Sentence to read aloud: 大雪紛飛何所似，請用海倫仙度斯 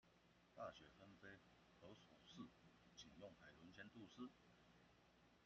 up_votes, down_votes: 0, 2